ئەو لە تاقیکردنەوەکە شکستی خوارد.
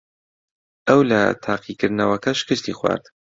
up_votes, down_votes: 2, 0